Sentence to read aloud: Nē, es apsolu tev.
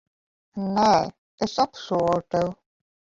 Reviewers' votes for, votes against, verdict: 1, 2, rejected